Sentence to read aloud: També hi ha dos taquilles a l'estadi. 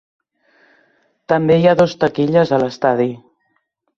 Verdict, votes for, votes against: accepted, 3, 0